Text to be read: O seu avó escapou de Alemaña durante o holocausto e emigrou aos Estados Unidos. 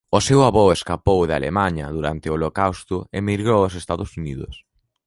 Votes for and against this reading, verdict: 2, 0, accepted